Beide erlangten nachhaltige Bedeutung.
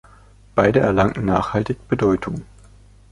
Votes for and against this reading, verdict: 2, 1, accepted